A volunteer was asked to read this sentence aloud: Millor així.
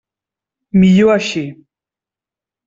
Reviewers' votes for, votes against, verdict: 3, 0, accepted